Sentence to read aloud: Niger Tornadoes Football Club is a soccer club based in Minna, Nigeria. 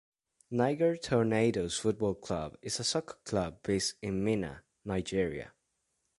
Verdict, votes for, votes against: accepted, 2, 0